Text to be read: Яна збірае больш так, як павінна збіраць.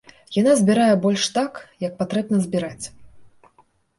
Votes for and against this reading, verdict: 0, 2, rejected